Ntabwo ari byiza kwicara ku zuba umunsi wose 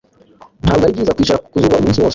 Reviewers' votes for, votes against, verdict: 1, 2, rejected